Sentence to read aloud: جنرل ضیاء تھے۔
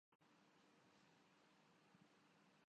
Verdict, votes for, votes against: rejected, 0, 2